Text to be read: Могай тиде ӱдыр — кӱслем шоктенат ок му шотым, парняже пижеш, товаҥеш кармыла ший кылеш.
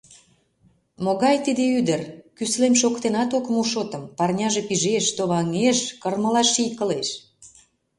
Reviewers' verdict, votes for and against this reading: rejected, 0, 2